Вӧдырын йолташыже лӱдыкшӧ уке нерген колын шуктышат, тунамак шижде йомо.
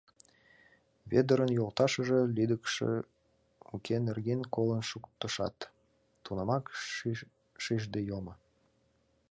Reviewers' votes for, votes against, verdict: 0, 2, rejected